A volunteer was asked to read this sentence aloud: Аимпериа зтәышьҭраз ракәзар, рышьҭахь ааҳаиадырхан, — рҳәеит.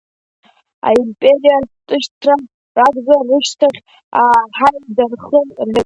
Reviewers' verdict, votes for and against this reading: accepted, 2, 0